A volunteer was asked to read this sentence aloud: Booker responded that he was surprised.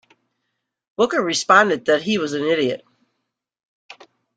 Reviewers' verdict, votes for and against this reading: rejected, 0, 2